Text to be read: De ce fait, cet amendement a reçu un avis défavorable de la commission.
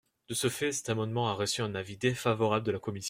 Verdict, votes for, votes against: accepted, 2, 1